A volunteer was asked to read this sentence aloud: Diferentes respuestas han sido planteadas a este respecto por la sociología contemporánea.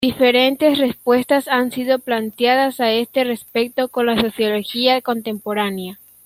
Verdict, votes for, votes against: rejected, 2, 3